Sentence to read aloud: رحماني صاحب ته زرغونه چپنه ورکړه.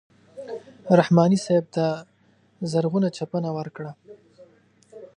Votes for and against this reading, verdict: 2, 0, accepted